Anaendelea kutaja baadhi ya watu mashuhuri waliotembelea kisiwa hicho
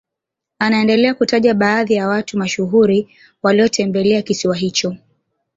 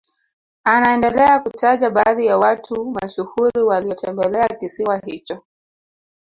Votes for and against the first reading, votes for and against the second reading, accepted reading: 2, 0, 0, 2, first